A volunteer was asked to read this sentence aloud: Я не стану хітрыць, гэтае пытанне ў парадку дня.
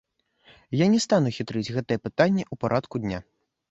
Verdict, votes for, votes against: rejected, 1, 2